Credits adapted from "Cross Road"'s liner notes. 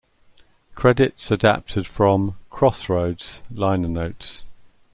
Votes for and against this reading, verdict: 1, 2, rejected